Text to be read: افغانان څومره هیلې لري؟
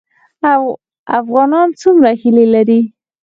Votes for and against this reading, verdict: 0, 4, rejected